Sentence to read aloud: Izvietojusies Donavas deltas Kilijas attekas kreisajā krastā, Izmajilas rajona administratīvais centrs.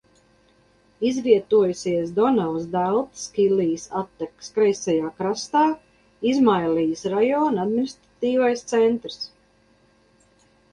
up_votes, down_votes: 0, 2